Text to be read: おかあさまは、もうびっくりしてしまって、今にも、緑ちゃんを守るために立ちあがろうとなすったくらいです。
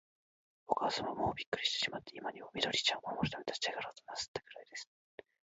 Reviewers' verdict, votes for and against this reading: accepted, 3, 1